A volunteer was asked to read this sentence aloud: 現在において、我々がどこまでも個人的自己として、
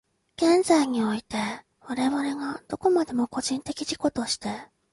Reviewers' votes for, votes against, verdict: 2, 0, accepted